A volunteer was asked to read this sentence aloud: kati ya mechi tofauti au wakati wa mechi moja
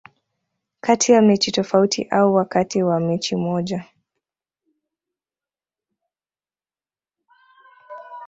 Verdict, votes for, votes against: accepted, 2, 0